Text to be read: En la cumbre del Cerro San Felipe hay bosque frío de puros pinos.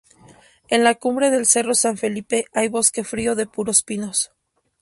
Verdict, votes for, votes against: rejected, 2, 2